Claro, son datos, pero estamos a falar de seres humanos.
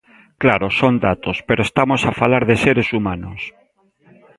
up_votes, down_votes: 2, 0